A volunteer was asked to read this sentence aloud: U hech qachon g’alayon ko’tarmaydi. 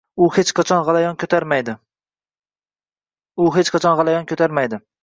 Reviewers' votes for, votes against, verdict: 1, 2, rejected